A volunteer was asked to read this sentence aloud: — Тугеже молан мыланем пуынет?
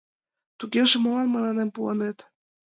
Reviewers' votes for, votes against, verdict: 3, 2, accepted